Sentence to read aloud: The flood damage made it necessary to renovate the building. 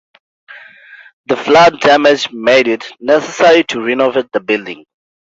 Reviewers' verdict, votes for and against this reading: accepted, 2, 0